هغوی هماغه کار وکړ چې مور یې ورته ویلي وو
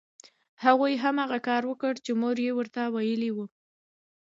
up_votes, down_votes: 2, 0